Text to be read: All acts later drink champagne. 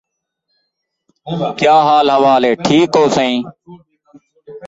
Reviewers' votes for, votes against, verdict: 0, 2, rejected